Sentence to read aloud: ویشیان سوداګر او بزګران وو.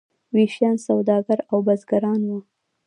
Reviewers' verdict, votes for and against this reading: rejected, 0, 2